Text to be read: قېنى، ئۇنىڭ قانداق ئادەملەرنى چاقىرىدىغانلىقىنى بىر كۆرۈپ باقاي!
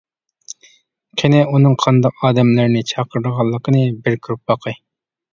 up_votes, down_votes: 2, 0